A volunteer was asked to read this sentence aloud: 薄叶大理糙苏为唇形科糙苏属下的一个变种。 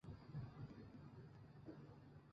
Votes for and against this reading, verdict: 2, 0, accepted